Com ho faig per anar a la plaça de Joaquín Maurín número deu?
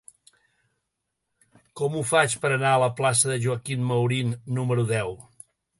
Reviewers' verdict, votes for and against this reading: accepted, 3, 0